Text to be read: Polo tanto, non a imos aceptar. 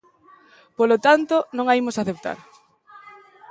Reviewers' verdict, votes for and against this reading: accepted, 2, 0